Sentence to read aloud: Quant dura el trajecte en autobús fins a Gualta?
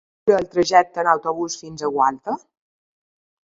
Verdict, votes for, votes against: rejected, 1, 2